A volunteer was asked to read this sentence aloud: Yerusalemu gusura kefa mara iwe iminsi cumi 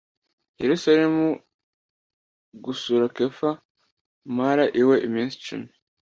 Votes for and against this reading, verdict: 2, 0, accepted